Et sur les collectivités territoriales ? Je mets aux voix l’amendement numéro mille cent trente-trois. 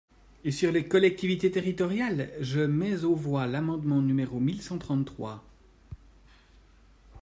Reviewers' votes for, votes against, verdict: 2, 0, accepted